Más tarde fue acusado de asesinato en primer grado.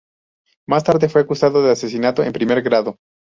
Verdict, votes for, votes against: accepted, 2, 0